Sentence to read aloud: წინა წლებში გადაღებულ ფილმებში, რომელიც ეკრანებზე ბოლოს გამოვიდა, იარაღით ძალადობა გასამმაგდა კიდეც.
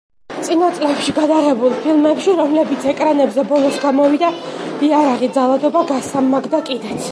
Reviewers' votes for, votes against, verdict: 1, 2, rejected